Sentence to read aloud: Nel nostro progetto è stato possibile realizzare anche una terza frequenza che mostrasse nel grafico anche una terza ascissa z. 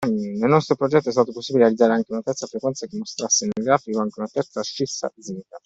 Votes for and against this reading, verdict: 1, 2, rejected